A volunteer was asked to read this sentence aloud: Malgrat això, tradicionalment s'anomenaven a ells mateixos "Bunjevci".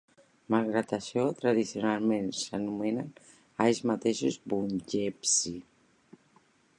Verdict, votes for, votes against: rejected, 0, 3